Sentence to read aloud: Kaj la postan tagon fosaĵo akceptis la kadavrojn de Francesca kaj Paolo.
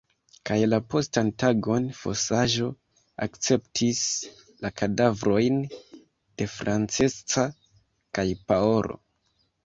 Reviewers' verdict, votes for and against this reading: accepted, 2, 0